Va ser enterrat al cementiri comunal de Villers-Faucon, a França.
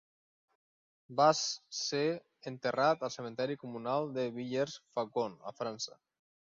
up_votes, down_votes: 0, 3